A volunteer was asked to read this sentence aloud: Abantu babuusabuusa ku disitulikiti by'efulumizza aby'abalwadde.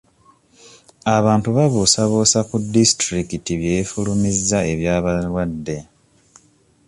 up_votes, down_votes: 1, 2